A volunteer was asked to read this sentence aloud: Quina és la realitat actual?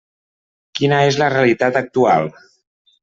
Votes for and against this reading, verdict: 3, 0, accepted